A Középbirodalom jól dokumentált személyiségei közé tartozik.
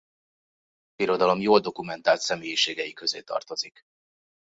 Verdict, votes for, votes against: rejected, 0, 2